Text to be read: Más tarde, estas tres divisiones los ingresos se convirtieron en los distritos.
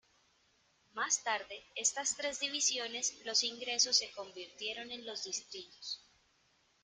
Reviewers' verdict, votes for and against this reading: accepted, 2, 1